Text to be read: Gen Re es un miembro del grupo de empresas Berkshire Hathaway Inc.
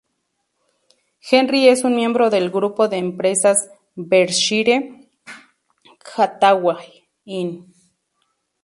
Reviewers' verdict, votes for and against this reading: accepted, 2, 0